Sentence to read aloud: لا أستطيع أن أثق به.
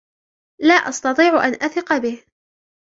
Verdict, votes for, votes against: rejected, 1, 2